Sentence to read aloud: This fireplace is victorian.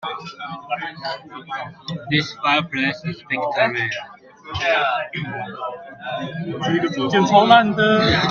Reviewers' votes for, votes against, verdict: 0, 2, rejected